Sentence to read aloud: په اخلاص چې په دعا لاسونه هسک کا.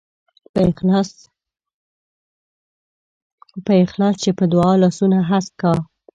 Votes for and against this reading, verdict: 0, 2, rejected